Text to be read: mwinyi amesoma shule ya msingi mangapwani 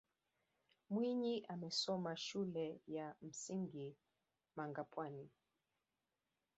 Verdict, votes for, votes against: rejected, 1, 2